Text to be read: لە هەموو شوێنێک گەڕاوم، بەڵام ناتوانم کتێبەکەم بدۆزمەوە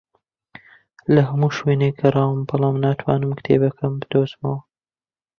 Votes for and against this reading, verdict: 1, 2, rejected